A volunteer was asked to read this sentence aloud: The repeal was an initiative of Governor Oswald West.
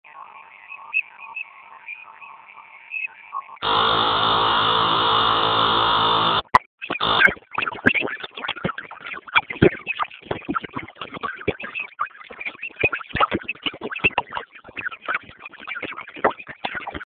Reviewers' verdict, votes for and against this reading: rejected, 0, 2